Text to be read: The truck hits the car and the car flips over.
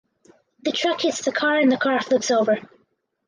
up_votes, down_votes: 2, 4